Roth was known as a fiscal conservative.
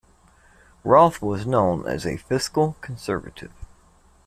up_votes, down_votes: 2, 0